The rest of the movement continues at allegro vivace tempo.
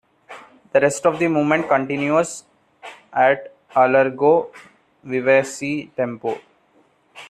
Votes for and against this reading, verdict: 2, 0, accepted